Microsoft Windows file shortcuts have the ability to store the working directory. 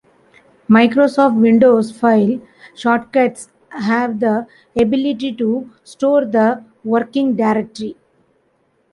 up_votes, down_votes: 2, 1